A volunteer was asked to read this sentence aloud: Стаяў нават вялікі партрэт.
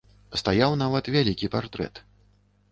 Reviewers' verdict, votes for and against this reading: accepted, 2, 0